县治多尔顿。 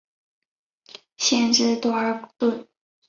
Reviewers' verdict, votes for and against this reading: rejected, 1, 2